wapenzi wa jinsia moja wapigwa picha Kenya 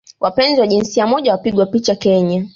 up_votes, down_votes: 2, 0